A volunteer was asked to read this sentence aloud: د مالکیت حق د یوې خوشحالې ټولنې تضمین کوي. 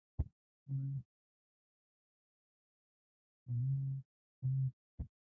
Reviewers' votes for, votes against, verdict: 0, 2, rejected